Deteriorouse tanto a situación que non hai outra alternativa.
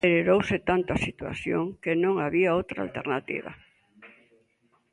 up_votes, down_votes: 0, 2